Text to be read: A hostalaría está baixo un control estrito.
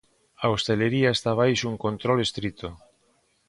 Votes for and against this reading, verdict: 0, 2, rejected